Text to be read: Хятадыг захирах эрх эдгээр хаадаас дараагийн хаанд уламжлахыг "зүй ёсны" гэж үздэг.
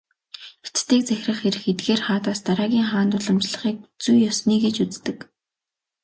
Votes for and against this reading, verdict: 2, 0, accepted